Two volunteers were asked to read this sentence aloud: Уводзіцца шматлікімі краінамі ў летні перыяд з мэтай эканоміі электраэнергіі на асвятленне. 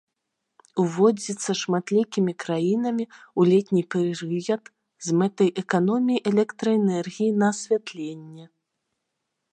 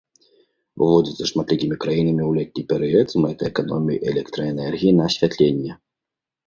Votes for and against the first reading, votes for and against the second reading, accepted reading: 0, 3, 2, 0, second